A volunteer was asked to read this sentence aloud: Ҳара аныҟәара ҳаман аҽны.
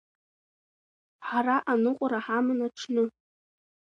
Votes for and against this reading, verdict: 2, 0, accepted